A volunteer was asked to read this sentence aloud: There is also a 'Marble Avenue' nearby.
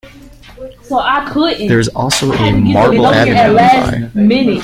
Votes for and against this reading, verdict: 1, 2, rejected